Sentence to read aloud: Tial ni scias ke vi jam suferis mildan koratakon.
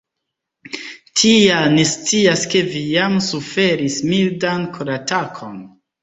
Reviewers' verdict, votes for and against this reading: accepted, 2, 1